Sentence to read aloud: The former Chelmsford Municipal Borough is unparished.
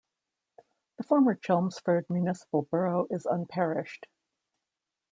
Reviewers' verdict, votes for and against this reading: rejected, 1, 2